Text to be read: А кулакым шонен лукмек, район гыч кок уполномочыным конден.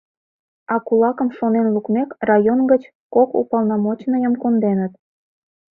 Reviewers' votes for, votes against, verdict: 0, 2, rejected